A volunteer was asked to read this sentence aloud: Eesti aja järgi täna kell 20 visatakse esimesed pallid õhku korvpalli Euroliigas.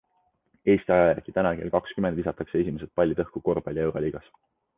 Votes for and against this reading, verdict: 0, 2, rejected